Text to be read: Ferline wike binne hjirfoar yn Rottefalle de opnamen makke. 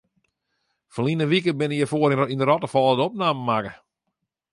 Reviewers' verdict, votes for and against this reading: rejected, 0, 2